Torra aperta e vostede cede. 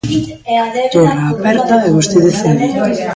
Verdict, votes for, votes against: rejected, 0, 2